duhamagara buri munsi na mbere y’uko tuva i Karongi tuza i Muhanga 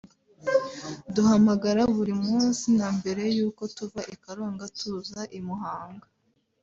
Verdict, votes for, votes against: rejected, 1, 2